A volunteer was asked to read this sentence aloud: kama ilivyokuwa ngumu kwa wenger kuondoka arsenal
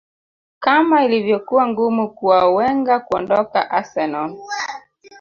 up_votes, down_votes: 0, 2